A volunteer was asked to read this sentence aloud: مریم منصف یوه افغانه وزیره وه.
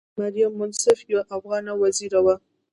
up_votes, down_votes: 1, 2